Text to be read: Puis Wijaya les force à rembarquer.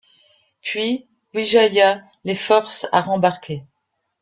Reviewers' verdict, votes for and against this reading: accepted, 2, 0